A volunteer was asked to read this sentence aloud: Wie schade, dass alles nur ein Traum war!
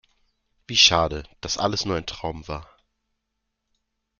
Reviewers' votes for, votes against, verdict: 2, 0, accepted